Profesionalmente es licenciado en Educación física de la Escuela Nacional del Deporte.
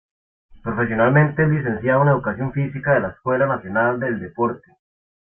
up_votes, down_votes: 2, 0